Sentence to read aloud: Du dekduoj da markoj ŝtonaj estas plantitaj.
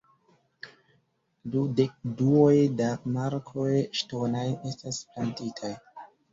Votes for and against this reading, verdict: 0, 2, rejected